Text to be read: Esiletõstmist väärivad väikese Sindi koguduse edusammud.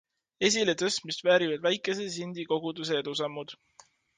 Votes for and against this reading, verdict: 2, 0, accepted